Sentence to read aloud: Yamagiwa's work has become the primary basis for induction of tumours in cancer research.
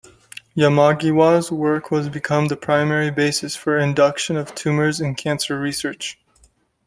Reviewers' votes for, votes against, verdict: 0, 2, rejected